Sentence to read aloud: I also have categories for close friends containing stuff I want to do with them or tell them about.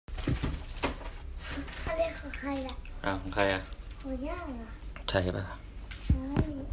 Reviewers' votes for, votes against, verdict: 0, 3, rejected